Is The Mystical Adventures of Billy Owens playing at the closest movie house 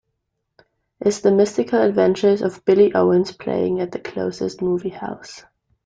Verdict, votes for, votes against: accepted, 2, 0